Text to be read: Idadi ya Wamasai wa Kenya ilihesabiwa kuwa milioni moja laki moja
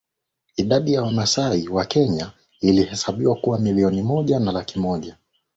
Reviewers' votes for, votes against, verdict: 2, 0, accepted